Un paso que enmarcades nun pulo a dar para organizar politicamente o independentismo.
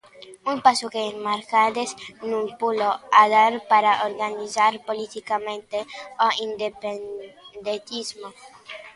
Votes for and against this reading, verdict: 0, 2, rejected